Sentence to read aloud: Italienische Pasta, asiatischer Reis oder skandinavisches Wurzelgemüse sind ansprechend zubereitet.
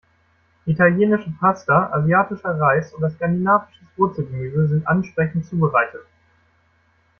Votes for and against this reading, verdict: 0, 2, rejected